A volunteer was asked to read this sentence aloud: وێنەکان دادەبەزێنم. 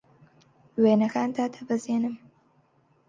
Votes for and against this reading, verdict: 4, 0, accepted